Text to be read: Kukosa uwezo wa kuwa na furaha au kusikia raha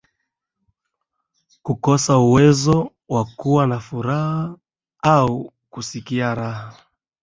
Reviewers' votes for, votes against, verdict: 4, 0, accepted